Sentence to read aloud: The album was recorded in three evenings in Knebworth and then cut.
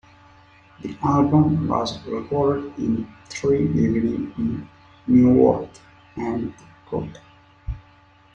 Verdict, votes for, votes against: rejected, 1, 2